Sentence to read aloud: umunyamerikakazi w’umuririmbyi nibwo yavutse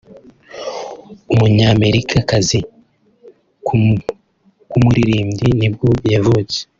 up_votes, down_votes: 1, 2